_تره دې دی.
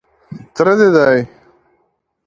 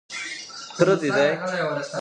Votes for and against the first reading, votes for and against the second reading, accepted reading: 2, 0, 1, 2, first